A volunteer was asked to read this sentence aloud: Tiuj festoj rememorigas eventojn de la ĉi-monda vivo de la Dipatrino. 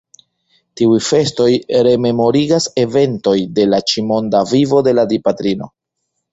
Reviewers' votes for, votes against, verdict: 2, 1, accepted